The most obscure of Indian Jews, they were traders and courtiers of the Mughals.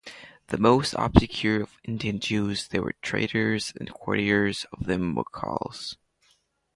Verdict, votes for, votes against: rejected, 0, 2